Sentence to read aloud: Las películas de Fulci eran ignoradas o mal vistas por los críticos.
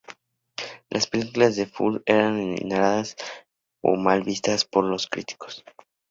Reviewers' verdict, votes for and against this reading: rejected, 0, 2